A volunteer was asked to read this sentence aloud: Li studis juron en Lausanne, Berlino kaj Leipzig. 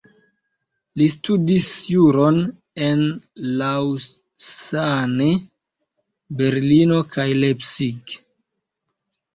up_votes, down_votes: 1, 2